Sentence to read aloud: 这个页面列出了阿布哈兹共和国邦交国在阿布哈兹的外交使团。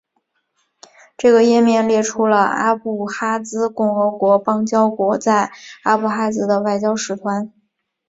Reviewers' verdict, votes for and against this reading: accepted, 3, 2